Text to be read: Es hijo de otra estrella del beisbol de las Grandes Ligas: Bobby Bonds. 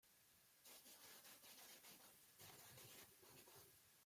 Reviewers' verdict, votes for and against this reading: rejected, 0, 2